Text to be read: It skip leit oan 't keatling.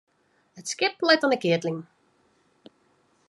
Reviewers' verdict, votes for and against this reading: rejected, 0, 2